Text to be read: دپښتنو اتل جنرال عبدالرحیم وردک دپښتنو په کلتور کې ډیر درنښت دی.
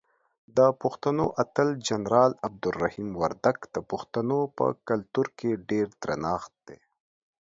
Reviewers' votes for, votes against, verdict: 2, 0, accepted